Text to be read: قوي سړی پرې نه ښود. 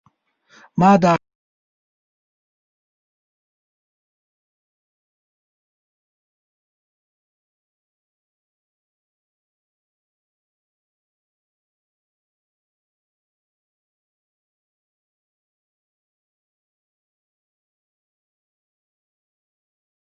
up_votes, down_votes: 0, 2